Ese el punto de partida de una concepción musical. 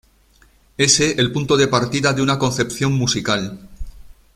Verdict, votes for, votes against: accepted, 2, 0